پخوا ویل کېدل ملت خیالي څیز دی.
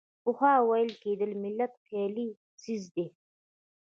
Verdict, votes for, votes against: accepted, 2, 0